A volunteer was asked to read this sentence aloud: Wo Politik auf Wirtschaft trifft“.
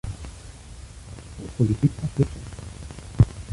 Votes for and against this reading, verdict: 0, 2, rejected